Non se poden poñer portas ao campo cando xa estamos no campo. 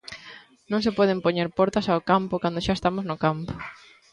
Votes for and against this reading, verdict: 2, 0, accepted